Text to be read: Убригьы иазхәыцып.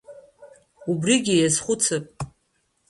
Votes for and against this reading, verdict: 2, 1, accepted